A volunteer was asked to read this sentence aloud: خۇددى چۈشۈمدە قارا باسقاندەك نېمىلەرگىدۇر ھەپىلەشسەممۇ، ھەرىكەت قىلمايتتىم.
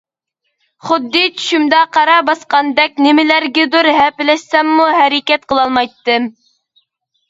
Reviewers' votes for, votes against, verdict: 0, 2, rejected